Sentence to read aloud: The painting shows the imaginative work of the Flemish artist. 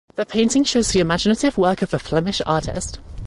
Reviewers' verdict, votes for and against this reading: rejected, 1, 2